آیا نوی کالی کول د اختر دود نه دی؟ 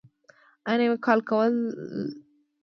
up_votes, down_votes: 0, 2